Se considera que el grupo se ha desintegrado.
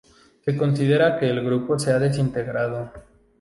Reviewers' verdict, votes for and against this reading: accepted, 2, 0